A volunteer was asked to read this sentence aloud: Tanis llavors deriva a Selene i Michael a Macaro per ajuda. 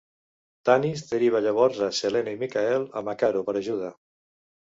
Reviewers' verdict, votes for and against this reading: rejected, 1, 2